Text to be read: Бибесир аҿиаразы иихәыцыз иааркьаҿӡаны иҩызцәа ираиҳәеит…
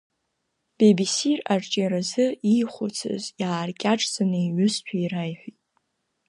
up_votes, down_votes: 2, 1